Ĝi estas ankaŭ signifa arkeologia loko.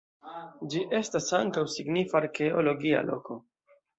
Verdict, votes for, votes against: accepted, 2, 0